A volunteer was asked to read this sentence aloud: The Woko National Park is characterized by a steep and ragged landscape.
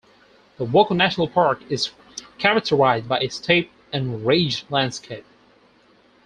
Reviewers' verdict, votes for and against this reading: rejected, 0, 4